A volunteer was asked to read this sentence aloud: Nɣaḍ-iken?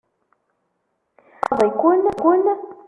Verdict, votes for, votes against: rejected, 0, 2